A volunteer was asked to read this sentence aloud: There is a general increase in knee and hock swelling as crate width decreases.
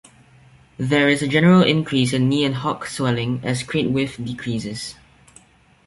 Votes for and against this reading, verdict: 2, 0, accepted